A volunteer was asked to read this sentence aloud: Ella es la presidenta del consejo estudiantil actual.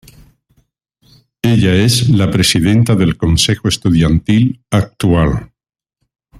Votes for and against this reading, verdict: 2, 1, accepted